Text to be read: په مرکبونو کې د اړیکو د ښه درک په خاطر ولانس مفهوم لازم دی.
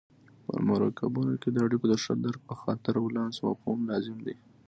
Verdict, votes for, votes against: accepted, 2, 0